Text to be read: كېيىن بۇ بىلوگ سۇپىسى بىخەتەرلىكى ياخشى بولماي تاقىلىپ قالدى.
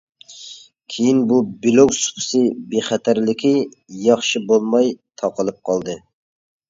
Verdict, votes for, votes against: accepted, 2, 0